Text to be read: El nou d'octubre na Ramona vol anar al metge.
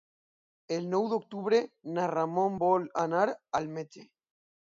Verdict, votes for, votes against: rejected, 0, 2